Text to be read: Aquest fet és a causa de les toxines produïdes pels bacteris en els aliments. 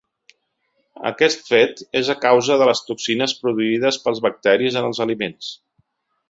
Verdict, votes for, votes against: accepted, 2, 0